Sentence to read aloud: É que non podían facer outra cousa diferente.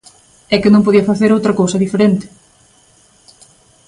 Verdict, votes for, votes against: accepted, 2, 1